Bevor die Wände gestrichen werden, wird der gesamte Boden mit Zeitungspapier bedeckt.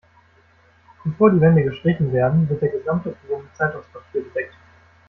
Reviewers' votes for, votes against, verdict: 1, 2, rejected